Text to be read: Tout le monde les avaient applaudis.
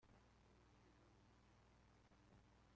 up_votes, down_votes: 0, 2